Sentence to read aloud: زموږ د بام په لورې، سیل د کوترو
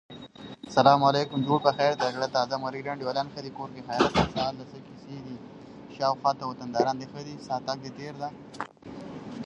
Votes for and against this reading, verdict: 0, 2, rejected